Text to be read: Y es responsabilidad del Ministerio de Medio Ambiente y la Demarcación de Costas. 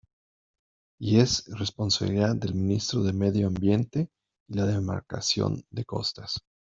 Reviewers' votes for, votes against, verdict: 1, 2, rejected